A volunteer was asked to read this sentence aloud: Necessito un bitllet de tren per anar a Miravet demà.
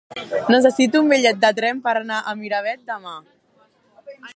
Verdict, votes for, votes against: accepted, 4, 2